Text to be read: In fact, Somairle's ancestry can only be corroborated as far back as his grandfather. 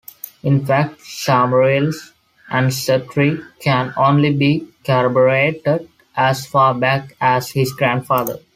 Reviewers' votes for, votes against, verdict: 2, 0, accepted